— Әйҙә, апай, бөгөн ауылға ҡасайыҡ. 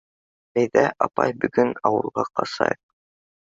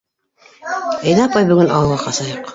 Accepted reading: first